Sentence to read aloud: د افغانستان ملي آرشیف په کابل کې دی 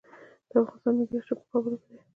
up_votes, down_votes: 1, 2